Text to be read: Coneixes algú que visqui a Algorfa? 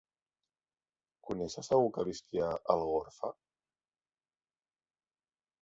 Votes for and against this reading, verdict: 0, 3, rejected